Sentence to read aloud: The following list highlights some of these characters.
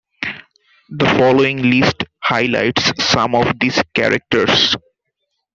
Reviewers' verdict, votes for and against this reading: accepted, 2, 0